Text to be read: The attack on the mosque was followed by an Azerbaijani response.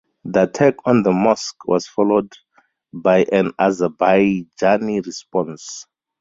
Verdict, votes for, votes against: rejected, 2, 2